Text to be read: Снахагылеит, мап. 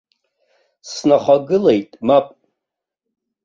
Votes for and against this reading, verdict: 2, 0, accepted